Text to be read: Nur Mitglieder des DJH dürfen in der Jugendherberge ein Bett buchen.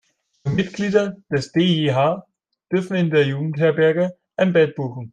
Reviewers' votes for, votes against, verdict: 0, 2, rejected